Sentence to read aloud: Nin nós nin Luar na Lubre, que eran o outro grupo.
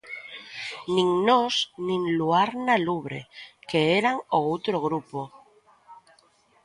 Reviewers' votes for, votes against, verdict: 2, 0, accepted